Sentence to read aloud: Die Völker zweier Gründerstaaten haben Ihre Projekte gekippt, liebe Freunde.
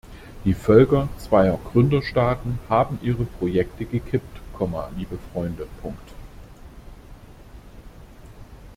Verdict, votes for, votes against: rejected, 0, 2